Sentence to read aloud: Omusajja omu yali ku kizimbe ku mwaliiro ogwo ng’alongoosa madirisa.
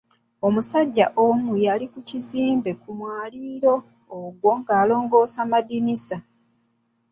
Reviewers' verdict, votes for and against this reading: rejected, 0, 2